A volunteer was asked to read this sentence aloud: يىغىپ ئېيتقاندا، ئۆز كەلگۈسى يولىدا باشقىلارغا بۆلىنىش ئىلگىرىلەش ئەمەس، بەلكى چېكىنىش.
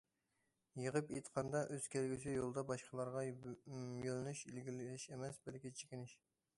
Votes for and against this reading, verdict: 0, 2, rejected